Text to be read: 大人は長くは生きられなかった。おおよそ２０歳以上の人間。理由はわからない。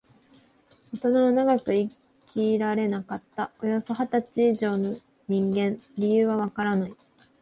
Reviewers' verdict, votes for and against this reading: rejected, 0, 2